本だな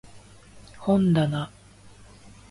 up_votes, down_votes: 2, 0